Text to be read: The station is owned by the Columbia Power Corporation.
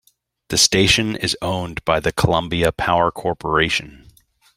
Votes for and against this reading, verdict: 2, 0, accepted